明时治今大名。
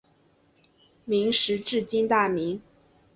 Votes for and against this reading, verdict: 4, 0, accepted